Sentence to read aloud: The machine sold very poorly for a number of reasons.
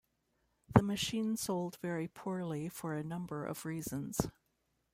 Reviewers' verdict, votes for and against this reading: accepted, 2, 0